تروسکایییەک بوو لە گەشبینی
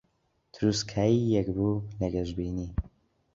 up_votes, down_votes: 2, 0